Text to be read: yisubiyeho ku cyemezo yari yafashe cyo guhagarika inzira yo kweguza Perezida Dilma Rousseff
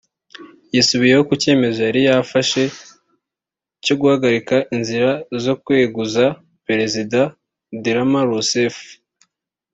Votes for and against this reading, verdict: 0, 2, rejected